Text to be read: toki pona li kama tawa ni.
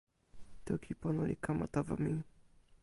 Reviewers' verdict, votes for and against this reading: rejected, 0, 2